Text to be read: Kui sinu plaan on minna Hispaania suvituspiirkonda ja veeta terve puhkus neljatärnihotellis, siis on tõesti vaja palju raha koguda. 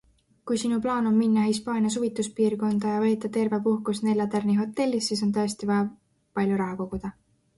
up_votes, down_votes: 2, 0